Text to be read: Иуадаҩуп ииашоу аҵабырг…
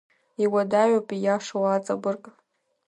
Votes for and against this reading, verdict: 2, 0, accepted